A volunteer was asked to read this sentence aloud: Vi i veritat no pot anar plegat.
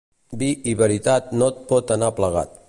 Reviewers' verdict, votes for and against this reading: rejected, 0, 2